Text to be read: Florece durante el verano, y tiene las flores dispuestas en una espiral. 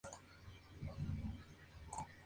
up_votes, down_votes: 0, 2